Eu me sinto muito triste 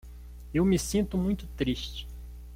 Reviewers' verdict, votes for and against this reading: accepted, 2, 0